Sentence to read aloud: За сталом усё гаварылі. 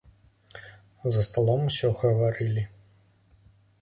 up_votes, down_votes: 2, 0